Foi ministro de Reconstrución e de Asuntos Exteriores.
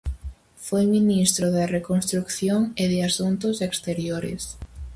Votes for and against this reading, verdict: 2, 2, rejected